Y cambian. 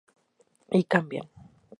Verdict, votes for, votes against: accepted, 6, 2